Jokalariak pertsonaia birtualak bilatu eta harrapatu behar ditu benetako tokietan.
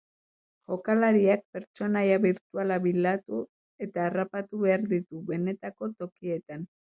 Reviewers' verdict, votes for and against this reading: accepted, 3, 0